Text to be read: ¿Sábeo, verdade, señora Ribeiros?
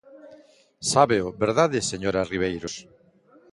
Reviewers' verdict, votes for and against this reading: accepted, 3, 0